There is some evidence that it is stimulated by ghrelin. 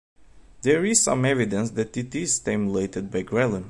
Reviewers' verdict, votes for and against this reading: accepted, 2, 0